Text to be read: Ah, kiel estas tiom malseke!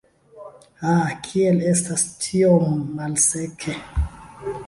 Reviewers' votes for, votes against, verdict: 1, 2, rejected